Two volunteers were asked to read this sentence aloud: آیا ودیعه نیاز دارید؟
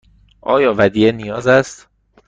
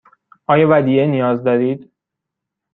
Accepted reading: second